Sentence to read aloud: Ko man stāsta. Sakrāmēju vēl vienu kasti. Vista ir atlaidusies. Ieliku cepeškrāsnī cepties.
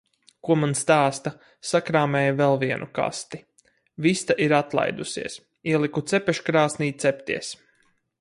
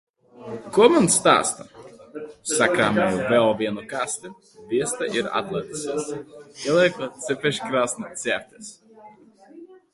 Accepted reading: first